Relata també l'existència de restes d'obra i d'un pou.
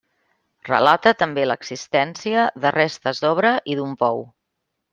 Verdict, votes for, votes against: accepted, 3, 1